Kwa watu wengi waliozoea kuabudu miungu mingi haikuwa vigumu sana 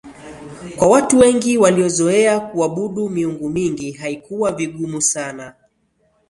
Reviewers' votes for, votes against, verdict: 4, 1, accepted